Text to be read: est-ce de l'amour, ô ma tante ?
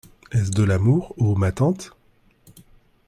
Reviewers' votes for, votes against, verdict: 2, 0, accepted